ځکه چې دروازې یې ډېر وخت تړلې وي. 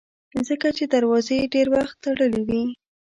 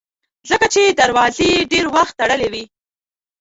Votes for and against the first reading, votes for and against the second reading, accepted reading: 2, 0, 0, 2, first